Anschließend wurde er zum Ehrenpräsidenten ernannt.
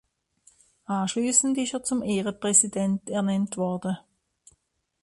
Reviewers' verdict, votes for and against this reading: rejected, 0, 2